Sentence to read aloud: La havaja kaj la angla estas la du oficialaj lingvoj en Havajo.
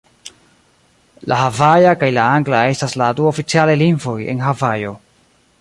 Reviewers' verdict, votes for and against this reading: rejected, 1, 2